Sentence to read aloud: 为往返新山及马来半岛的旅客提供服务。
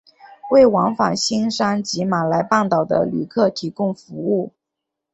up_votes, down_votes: 2, 0